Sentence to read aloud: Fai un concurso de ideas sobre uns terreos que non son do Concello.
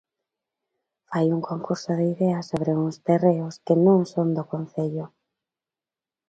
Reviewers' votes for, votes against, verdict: 2, 1, accepted